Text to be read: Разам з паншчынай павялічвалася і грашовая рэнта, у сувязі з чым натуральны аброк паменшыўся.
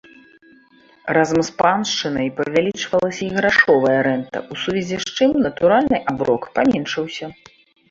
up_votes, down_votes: 2, 0